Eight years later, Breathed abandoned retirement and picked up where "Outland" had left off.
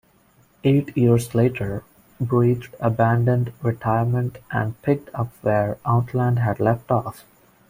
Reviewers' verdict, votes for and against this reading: rejected, 1, 2